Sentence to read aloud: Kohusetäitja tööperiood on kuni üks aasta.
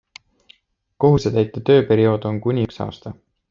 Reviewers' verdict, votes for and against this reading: accepted, 2, 0